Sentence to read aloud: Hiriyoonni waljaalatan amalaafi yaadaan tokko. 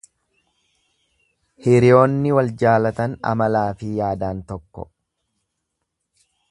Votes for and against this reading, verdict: 2, 0, accepted